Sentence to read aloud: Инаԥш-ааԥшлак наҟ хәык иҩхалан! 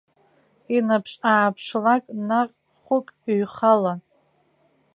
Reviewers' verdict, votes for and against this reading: rejected, 1, 2